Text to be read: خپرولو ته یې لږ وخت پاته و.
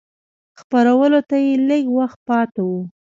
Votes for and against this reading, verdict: 1, 2, rejected